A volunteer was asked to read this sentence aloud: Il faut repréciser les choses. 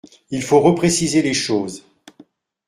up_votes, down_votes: 2, 0